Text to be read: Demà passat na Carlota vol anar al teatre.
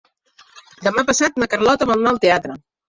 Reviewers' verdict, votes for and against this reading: accepted, 2, 0